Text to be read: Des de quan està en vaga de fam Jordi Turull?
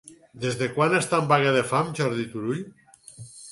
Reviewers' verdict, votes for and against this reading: accepted, 8, 0